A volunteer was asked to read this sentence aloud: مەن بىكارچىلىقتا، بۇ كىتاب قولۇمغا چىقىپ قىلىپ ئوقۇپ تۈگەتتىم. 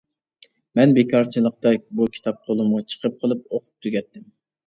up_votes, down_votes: 1, 2